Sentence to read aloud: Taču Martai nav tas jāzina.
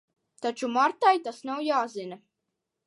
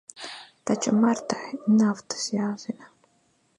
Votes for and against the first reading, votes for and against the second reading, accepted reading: 0, 2, 2, 0, second